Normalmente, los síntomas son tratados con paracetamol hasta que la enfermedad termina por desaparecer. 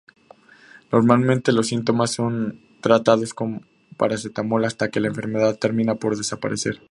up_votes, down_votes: 2, 0